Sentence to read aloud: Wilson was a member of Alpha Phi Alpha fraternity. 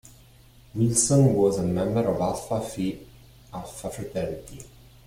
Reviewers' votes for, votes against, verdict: 2, 0, accepted